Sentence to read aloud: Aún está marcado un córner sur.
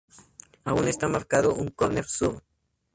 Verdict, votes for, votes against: rejected, 0, 2